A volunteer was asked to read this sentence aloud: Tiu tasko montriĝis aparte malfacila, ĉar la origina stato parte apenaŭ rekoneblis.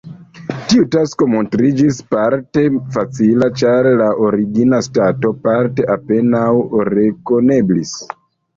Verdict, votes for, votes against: rejected, 0, 2